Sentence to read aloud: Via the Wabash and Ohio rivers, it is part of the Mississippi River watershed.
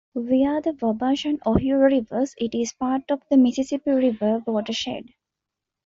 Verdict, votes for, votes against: accepted, 2, 0